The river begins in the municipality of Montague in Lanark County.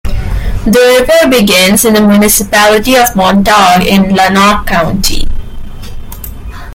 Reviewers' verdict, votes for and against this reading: rejected, 0, 2